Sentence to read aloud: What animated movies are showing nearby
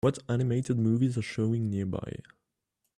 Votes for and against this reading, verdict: 2, 0, accepted